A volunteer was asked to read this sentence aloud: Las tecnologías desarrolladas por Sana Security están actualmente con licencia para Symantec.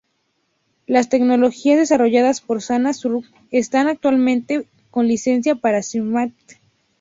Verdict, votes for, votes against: rejected, 0, 4